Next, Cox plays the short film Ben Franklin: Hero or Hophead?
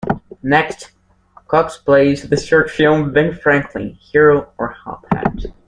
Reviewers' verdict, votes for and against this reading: accepted, 2, 0